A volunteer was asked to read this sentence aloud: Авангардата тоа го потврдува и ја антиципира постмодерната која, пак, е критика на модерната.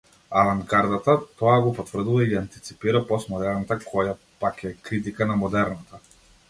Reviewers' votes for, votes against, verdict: 2, 0, accepted